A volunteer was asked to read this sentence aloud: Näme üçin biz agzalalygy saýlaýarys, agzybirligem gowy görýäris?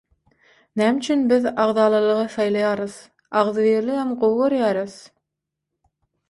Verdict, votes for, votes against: rejected, 3, 6